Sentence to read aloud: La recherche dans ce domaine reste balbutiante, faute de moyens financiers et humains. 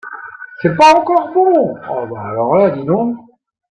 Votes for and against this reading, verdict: 0, 2, rejected